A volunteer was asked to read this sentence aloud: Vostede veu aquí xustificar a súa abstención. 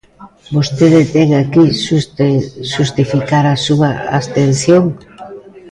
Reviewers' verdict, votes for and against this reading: rejected, 1, 2